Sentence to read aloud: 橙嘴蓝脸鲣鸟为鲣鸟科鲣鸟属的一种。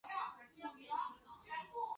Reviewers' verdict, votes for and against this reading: rejected, 0, 2